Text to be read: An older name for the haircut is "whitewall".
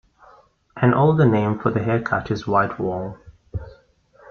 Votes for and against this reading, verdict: 2, 0, accepted